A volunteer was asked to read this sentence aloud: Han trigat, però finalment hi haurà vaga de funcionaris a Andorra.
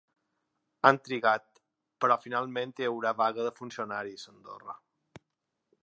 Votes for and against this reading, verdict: 3, 0, accepted